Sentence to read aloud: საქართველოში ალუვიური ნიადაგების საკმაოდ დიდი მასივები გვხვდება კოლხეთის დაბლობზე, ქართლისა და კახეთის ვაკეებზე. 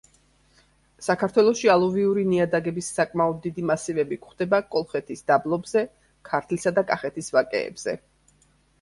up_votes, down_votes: 2, 0